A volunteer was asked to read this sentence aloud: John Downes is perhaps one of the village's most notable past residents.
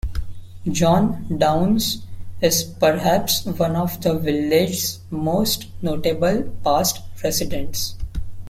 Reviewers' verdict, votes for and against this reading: rejected, 1, 2